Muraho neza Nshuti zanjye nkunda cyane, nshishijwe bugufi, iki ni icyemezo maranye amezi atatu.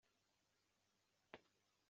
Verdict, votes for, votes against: rejected, 0, 2